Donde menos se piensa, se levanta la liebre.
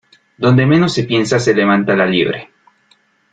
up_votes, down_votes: 2, 0